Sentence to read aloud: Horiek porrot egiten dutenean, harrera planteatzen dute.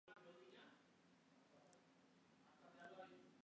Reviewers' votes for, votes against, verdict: 0, 2, rejected